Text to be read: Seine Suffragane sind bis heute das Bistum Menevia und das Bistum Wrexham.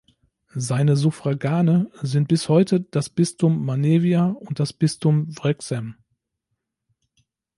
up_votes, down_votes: 0, 2